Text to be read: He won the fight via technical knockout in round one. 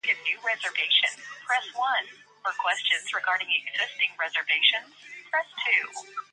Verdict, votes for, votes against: rejected, 0, 2